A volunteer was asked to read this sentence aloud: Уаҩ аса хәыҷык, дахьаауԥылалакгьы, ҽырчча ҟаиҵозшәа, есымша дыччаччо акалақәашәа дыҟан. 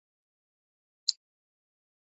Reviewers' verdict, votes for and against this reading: rejected, 0, 2